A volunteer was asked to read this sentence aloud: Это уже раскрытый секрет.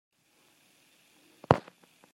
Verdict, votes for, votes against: rejected, 1, 2